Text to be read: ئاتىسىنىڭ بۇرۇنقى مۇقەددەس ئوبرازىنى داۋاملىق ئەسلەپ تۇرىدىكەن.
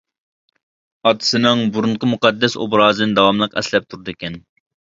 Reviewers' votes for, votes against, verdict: 2, 0, accepted